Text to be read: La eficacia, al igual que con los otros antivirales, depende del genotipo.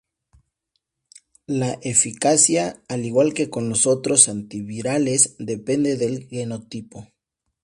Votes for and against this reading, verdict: 4, 0, accepted